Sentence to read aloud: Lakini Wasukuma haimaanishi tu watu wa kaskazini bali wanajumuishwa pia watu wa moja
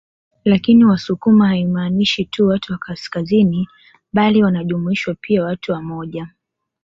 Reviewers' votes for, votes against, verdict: 2, 1, accepted